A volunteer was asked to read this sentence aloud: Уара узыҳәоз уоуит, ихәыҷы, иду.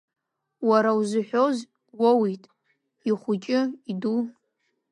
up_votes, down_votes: 2, 1